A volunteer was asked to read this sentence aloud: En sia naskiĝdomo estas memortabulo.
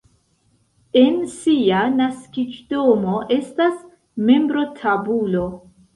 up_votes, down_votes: 0, 2